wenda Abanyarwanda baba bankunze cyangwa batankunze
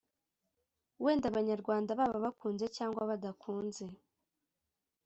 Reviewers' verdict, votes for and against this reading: rejected, 0, 2